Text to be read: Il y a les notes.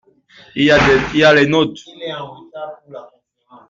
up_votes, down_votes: 1, 2